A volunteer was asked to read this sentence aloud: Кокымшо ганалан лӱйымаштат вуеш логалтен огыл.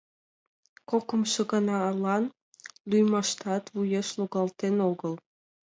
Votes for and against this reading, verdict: 2, 0, accepted